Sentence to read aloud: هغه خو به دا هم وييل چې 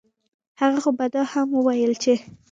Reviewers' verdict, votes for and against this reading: accepted, 2, 0